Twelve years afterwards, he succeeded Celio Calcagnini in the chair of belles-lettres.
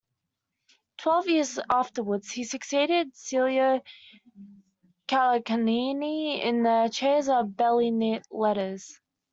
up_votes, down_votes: 0, 2